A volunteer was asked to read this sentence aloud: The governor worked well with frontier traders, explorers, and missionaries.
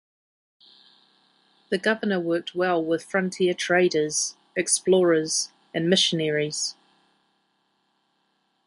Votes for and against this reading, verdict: 9, 0, accepted